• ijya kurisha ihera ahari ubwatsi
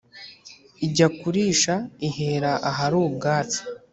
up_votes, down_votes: 2, 0